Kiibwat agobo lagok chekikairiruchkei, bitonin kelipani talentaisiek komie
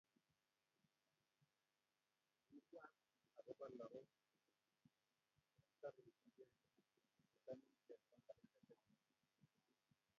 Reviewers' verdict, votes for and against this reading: rejected, 0, 3